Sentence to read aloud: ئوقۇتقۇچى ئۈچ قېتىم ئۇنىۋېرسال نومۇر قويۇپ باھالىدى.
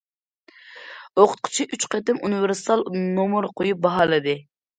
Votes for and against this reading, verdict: 2, 0, accepted